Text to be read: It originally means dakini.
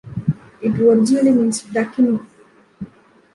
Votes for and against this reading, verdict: 1, 2, rejected